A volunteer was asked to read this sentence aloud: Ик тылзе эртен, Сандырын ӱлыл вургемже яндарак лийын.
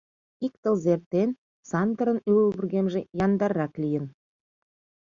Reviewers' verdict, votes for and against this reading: rejected, 1, 2